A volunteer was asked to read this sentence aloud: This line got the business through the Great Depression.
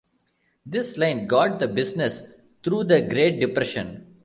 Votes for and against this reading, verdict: 2, 0, accepted